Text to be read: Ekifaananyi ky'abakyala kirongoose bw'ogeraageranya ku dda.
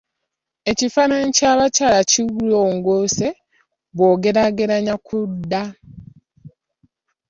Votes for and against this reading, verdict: 1, 2, rejected